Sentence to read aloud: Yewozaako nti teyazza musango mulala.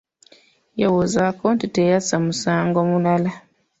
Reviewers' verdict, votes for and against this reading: accepted, 2, 0